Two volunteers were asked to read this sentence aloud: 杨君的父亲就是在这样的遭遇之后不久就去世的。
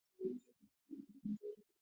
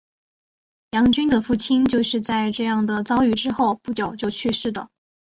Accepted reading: second